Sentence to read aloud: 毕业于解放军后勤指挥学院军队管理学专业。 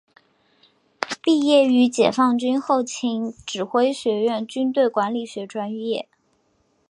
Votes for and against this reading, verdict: 2, 1, accepted